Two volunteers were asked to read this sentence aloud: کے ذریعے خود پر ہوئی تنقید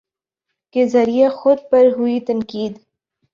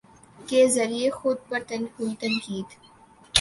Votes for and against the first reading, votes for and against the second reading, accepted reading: 2, 0, 0, 2, first